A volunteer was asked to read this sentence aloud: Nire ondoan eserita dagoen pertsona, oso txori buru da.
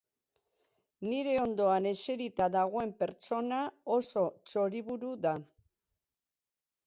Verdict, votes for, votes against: accepted, 4, 2